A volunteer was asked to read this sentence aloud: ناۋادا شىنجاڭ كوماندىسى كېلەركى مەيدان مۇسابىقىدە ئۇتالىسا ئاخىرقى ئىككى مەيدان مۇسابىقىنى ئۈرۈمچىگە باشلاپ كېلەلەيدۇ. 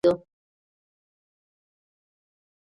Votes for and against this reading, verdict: 0, 2, rejected